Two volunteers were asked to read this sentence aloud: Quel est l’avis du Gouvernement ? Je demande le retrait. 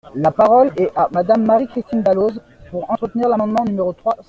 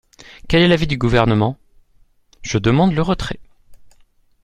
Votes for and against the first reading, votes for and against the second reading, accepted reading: 0, 2, 2, 0, second